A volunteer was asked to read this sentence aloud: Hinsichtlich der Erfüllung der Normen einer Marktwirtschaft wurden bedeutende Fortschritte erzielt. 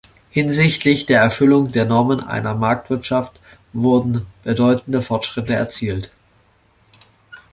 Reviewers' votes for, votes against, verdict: 2, 0, accepted